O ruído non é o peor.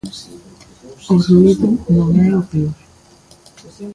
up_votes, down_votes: 2, 1